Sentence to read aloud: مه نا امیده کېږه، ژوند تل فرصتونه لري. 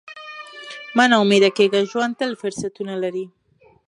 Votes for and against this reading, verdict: 0, 2, rejected